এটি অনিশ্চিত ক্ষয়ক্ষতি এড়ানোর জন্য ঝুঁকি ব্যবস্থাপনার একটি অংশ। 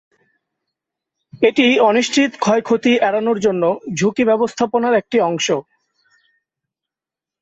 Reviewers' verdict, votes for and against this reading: accepted, 2, 0